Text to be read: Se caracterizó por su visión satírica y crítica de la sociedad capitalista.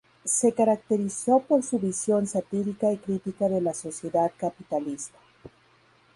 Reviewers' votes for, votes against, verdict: 2, 0, accepted